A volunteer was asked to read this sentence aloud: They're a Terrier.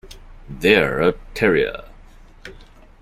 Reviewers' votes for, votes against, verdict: 2, 0, accepted